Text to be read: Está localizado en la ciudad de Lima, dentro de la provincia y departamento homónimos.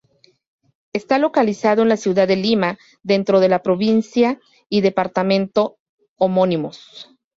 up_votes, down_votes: 2, 0